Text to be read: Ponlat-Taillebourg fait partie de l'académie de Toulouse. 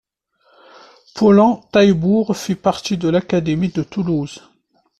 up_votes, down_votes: 0, 2